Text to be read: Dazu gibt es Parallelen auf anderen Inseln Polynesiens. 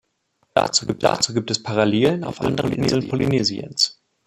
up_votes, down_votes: 0, 2